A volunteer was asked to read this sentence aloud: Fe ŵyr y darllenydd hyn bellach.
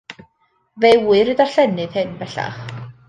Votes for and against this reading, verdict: 2, 0, accepted